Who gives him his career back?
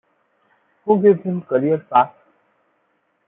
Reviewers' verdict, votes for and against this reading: rejected, 0, 2